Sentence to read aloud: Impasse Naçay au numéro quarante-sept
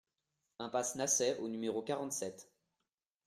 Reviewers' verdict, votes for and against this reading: accepted, 2, 0